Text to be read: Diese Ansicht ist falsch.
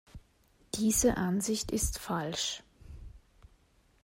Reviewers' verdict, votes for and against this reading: accepted, 2, 0